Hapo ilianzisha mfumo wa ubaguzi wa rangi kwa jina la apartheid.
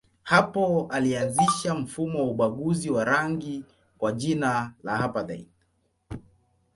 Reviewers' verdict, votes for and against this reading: rejected, 1, 2